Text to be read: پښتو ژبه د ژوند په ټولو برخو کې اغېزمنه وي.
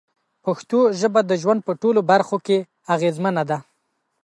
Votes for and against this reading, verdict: 1, 2, rejected